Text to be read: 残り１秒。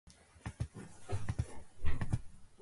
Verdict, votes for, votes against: rejected, 0, 2